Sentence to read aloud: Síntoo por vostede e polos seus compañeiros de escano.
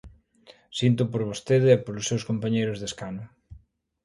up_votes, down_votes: 2, 0